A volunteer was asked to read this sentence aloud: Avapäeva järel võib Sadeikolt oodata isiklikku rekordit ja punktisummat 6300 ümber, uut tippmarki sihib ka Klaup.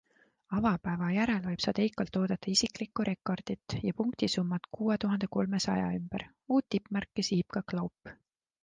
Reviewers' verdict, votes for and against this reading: rejected, 0, 2